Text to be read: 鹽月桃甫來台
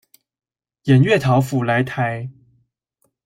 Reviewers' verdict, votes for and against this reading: rejected, 1, 2